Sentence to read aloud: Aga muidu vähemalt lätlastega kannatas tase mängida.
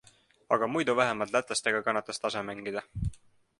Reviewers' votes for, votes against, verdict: 2, 0, accepted